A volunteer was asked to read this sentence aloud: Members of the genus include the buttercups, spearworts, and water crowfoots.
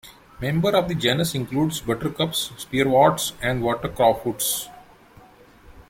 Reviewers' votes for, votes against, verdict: 2, 1, accepted